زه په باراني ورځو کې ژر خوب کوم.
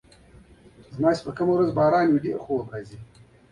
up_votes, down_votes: 0, 2